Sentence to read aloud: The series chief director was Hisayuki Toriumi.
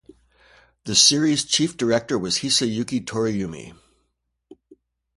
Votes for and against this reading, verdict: 2, 0, accepted